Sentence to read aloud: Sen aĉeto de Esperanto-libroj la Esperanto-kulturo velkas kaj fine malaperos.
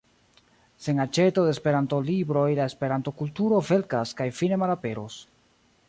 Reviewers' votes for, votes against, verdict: 0, 2, rejected